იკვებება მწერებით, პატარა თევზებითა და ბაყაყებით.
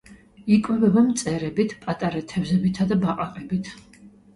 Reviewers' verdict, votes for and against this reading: rejected, 0, 2